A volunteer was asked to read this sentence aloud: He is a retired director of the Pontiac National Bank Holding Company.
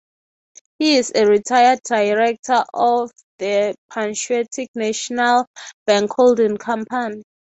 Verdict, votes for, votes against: rejected, 0, 3